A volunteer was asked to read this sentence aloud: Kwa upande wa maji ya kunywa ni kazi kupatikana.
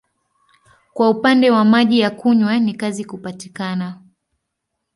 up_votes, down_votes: 2, 0